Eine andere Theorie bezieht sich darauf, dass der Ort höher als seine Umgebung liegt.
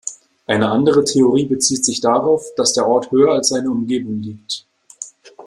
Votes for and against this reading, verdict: 2, 0, accepted